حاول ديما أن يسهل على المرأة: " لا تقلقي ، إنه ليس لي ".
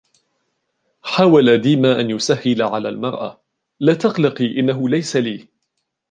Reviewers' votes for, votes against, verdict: 0, 2, rejected